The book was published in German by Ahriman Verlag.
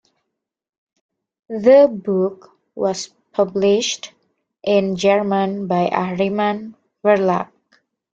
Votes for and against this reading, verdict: 2, 0, accepted